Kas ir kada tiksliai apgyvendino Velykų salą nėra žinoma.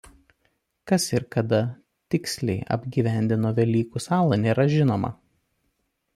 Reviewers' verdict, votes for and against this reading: accepted, 2, 0